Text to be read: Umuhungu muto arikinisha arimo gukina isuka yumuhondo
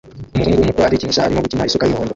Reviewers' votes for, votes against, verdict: 0, 2, rejected